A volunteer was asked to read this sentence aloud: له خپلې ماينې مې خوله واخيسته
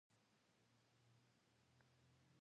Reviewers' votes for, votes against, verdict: 0, 2, rejected